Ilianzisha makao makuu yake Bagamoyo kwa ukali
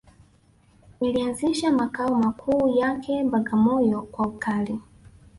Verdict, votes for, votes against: rejected, 1, 2